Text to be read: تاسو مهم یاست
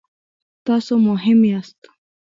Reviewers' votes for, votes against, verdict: 0, 2, rejected